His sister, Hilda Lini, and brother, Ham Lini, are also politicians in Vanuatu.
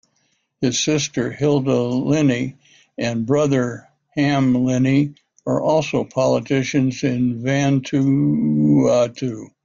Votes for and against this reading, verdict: 1, 2, rejected